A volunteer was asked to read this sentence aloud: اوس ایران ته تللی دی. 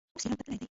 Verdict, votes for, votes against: rejected, 1, 2